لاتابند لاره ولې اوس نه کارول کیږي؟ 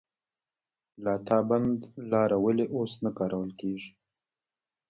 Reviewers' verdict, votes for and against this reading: accepted, 2, 1